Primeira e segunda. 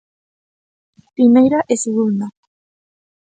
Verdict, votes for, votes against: accepted, 2, 0